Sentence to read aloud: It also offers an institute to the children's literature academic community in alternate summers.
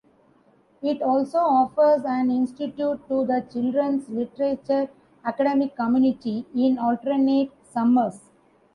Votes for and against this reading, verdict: 2, 0, accepted